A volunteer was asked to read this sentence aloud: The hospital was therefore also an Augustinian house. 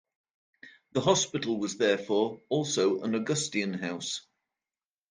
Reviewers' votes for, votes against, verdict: 0, 2, rejected